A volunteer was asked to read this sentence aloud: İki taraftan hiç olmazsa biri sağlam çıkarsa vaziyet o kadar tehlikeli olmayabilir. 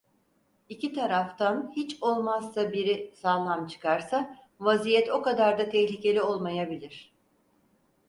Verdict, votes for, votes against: rejected, 2, 4